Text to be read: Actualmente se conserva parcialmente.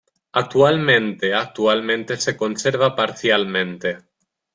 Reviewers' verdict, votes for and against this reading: rejected, 1, 2